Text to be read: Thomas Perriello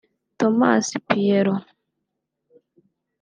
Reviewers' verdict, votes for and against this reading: rejected, 1, 2